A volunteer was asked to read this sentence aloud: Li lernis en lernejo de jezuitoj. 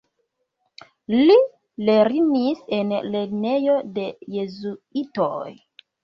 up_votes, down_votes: 0, 2